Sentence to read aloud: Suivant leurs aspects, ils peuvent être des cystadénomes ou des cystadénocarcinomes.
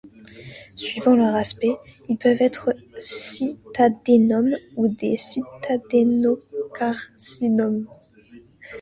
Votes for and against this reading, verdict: 0, 2, rejected